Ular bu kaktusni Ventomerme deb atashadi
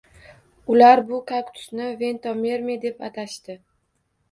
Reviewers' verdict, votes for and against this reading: rejected, 1, 2